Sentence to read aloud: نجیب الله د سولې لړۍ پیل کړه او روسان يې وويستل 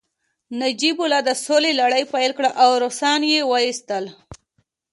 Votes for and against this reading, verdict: 2, 1, accepted